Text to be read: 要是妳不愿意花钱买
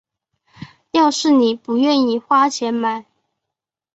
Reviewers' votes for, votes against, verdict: 3, 0, accepted